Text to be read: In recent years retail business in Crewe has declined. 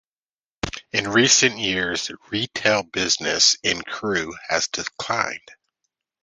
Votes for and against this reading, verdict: 2, 0, accepted